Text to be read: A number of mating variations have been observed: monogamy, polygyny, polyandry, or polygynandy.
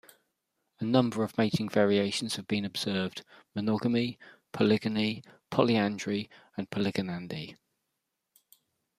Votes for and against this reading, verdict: 2, 1, accepted